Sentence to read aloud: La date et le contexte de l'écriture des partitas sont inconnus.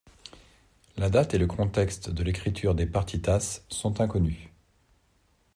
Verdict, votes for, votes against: accepted, 2, 0